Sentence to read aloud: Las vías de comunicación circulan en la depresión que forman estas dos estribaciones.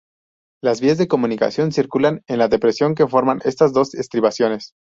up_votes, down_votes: 0, 2